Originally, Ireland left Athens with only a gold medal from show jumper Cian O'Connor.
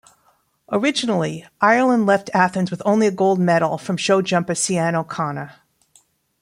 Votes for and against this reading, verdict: 2, 0, accepted